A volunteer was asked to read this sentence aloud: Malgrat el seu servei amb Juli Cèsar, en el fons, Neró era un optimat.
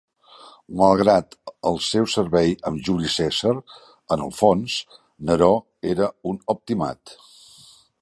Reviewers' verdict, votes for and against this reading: accepted, 3, 0